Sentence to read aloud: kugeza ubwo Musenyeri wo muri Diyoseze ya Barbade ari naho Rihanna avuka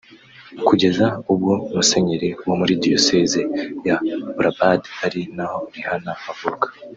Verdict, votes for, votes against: rejected, 1, 2